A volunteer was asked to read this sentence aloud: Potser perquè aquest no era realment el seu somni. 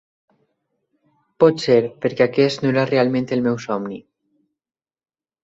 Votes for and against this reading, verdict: 0, 2, rejected